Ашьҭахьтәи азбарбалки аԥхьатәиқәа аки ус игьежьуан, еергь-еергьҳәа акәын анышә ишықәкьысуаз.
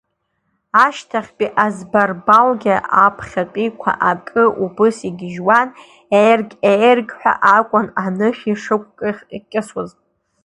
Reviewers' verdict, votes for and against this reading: rejected, 0, 2